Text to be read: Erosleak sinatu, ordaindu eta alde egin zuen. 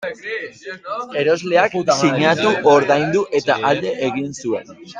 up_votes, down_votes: 0, 2